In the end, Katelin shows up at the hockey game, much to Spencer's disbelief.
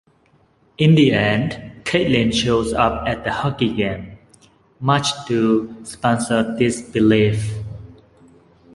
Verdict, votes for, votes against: accepted, 2, 1